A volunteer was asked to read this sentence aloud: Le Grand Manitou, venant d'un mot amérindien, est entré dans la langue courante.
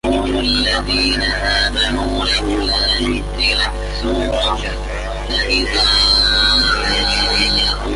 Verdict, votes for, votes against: rejected, 0, 2